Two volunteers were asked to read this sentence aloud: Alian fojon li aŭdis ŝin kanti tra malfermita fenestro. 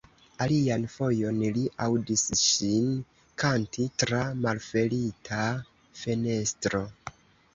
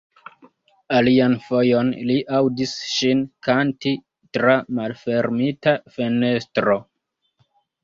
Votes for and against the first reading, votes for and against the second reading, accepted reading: 1, 2, 2, 0, second